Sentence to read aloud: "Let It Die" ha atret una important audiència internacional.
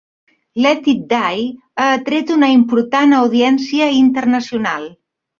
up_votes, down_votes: 3, 0